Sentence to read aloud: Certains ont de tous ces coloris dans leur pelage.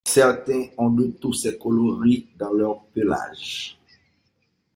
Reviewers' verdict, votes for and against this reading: rejected, 0, 3